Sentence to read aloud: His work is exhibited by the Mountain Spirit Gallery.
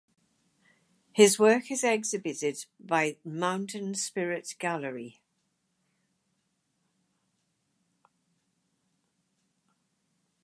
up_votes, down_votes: 2, 2